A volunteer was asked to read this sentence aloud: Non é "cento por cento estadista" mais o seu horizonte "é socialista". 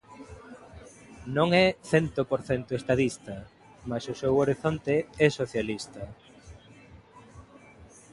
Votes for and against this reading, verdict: 2, 0, accepted